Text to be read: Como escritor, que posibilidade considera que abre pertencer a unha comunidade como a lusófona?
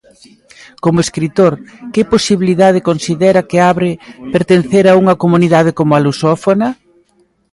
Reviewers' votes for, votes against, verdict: 2, 0, accepted